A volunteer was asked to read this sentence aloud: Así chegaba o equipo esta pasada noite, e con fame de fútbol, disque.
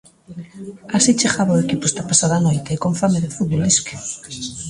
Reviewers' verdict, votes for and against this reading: accepted, 2, 1